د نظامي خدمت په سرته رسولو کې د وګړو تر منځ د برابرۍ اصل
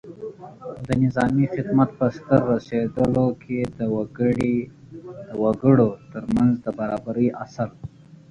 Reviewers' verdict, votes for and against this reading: rejected, 1, 2